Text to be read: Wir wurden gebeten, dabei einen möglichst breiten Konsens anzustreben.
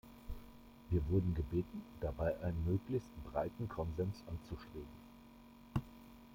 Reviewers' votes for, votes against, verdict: 2, 0, accepted